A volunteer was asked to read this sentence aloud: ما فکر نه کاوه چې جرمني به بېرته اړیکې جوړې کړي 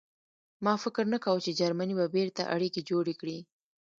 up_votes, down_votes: 2, 3